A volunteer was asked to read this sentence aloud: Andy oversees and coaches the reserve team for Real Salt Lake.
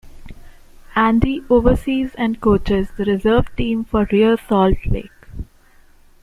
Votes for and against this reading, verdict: 2, 0, accepted